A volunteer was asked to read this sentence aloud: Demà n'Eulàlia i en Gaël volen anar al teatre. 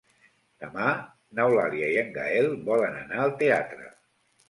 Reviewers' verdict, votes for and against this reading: accepted, 3, 0